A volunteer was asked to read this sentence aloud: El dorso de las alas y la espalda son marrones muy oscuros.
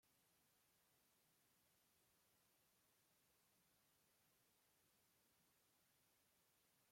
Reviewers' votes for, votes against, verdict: 0, 2, rejected